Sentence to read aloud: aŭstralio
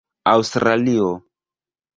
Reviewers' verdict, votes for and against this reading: rejected, 1, 2